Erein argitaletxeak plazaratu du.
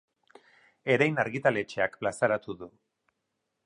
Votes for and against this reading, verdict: 0, 2, rejected